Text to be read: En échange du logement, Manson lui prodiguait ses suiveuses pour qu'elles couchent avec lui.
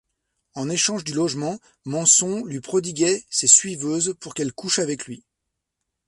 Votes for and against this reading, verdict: 1, 2, rejected